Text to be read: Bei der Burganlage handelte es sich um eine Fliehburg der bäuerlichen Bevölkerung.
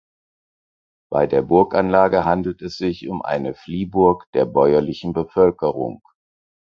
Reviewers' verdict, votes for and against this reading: rejected, 2, 4